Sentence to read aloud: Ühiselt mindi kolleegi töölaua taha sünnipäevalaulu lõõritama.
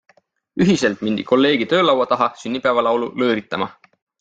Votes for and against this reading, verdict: 3, 0, accepted